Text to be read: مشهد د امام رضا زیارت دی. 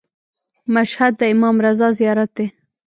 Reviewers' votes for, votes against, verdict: 2, 1, accepted